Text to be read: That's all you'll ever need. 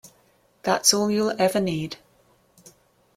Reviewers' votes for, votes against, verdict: 2, 0, accepted